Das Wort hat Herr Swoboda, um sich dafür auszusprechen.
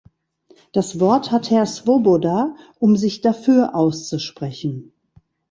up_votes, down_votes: 1, 2